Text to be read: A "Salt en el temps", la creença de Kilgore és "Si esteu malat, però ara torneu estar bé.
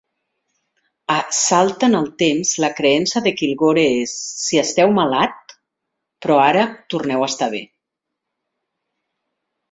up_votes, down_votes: 2, 0